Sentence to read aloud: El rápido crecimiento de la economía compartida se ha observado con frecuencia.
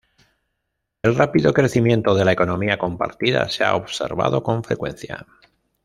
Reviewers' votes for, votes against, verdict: 2, 0, accepted